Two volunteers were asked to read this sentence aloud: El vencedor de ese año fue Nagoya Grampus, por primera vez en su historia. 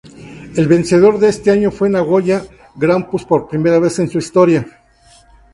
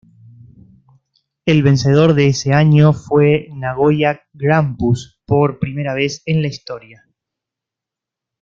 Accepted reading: first